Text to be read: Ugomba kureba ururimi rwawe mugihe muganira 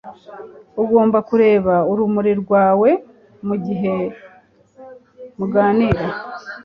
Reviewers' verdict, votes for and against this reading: rejected, 1, 2